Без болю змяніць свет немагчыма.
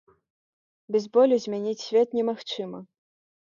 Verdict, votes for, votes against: rejected, 0, 3